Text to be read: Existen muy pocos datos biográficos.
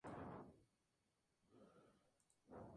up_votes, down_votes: 0, 2